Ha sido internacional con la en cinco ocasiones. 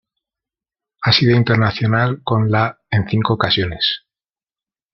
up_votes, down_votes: 1, 2